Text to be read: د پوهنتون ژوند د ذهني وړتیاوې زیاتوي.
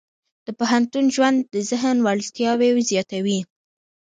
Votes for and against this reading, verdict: 0, 2, rejected